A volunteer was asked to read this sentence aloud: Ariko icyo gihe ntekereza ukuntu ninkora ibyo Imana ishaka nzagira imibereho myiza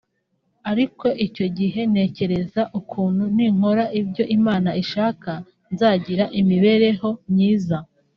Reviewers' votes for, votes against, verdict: 2, 0, accepted